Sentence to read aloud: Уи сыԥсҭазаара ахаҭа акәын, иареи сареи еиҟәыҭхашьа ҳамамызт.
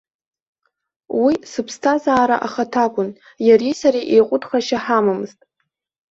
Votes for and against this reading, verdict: 2, 0, accepted